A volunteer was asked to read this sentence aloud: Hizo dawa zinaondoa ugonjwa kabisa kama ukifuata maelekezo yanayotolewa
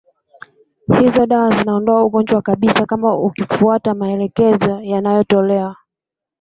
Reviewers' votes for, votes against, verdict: 2, 0, accepted